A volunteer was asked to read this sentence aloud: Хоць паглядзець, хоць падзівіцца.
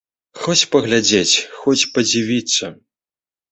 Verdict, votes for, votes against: accepted, 2, 0